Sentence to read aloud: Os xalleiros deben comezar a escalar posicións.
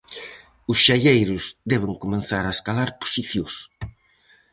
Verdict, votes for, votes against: rejected, 0, 4